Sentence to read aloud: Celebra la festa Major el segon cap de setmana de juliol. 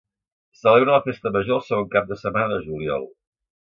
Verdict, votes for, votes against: accepted, 2, 0